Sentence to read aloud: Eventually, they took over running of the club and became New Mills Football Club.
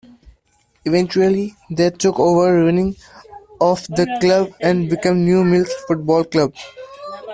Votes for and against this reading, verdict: 2, 0, accepted